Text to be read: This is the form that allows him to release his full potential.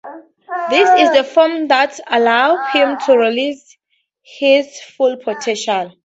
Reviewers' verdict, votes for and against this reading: accepted, 6, 0